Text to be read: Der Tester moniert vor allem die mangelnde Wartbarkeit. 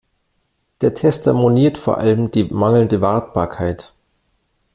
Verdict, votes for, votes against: accepted, 2, 0